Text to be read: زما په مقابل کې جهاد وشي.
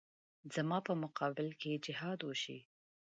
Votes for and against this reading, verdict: 1, 2, rejected